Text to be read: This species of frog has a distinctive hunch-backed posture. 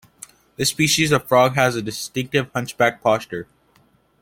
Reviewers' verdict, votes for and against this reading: accepted, 2, 0